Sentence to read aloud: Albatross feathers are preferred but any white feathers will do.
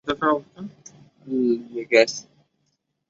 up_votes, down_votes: 0, 2